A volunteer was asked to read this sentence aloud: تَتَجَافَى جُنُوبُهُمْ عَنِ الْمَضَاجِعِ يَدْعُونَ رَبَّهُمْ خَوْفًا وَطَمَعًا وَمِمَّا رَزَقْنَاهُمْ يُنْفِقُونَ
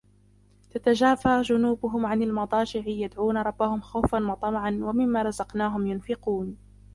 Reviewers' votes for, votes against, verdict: 0, 2, rejected